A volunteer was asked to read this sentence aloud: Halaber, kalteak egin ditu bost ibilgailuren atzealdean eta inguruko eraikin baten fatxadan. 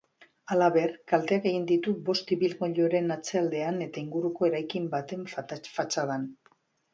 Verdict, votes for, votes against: rejected, 0, 2